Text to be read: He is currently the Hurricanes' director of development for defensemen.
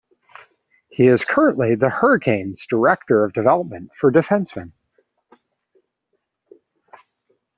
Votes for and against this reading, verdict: 1, 2, rejected